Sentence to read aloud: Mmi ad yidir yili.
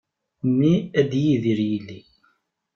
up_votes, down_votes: 1, 2